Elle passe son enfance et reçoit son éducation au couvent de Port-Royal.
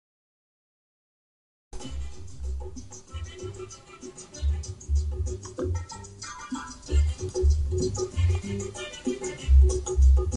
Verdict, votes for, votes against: rejected, 0, 2